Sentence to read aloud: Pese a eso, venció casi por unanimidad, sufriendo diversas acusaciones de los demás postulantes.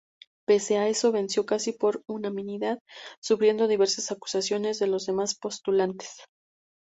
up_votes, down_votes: 2, 0